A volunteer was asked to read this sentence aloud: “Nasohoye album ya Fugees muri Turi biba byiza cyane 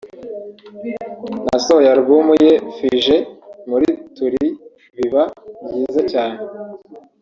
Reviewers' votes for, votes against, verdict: 2, 3, rejected